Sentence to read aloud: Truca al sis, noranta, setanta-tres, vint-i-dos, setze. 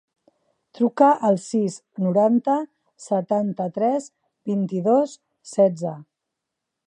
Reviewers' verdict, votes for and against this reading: accepted, 4, 0